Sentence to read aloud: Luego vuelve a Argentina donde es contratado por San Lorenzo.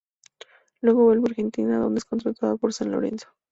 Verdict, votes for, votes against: rejected, 2, 2